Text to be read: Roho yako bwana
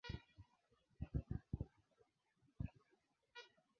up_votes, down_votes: 0, 2